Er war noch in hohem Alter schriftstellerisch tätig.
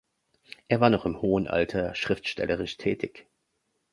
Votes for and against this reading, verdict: 2, 0, accepted